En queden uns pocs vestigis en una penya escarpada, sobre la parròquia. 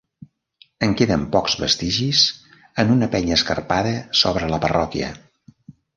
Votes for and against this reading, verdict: 1, 2, rejected